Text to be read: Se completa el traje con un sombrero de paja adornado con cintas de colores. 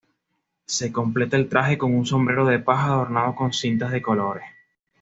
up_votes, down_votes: 2, 0